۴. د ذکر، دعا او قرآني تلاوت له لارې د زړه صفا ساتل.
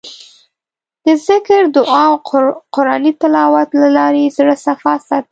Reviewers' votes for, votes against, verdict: 0, 2, rejected